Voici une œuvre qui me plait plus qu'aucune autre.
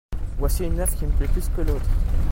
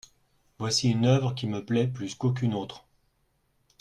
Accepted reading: second